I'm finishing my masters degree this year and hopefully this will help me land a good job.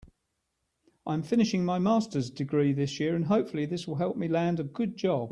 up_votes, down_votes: 3, 0